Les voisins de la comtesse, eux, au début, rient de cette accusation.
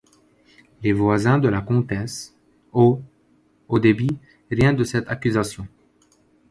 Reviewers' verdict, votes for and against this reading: rejected, 1, 2